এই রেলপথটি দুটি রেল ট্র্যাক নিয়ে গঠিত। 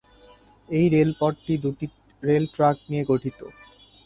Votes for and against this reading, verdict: 2, 0, accepted